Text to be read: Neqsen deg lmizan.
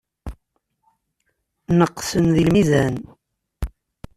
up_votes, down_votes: 2, 0